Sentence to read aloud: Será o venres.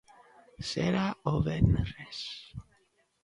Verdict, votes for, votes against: accepted, 2, 0